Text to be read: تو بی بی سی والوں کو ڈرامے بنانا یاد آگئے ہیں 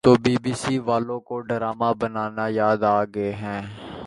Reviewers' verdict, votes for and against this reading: rejected, 1, 2